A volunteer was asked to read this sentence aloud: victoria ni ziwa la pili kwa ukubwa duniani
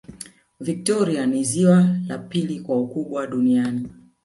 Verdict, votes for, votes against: accepted, 2, 0